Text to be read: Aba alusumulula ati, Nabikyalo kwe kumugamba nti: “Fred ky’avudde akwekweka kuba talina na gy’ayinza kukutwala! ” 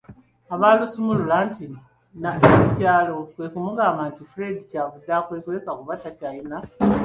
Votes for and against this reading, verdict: 0, 3, rejected